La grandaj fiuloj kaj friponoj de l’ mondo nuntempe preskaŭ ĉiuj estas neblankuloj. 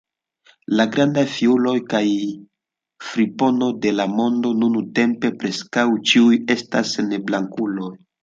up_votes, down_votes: 0, 2